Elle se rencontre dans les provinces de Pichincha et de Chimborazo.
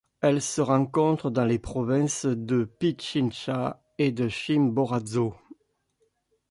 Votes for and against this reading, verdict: 2, 1, accepted